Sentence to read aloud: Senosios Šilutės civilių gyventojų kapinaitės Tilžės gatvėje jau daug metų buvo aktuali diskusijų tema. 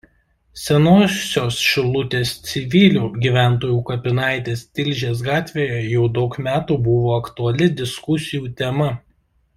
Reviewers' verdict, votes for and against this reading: rejected, 1, 2